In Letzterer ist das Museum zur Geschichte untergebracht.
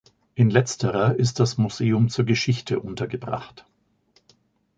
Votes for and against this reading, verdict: 2, 0, accepted